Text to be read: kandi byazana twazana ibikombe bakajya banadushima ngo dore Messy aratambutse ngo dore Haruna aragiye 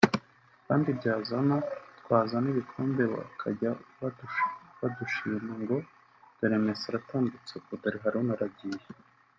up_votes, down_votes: 1, 2